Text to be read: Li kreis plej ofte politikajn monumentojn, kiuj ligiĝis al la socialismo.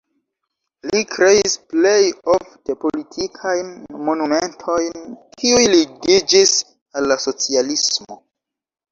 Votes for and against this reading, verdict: 2, 1, accepted